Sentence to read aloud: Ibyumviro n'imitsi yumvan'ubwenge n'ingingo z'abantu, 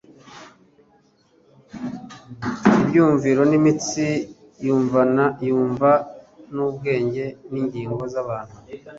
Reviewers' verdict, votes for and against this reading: rejected, 0, 2